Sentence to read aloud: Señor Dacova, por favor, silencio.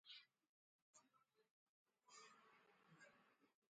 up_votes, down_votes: 0, 6